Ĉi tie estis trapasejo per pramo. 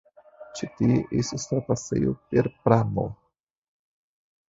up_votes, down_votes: 2, 3